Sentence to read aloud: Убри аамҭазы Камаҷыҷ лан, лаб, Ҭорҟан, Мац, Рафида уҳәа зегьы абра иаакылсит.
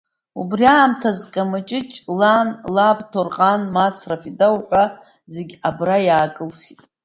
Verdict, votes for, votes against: accepted, 2, 0